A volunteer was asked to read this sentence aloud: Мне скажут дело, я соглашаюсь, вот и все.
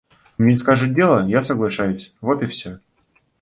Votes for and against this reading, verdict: 2, 1, accepted